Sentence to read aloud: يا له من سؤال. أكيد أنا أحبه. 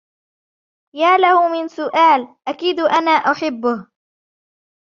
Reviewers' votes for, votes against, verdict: 1, 2, rejected